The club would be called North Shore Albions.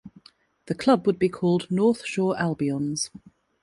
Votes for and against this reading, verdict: 2, 1, accepted